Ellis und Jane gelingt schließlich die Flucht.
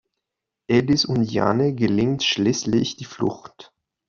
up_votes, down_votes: 2, 0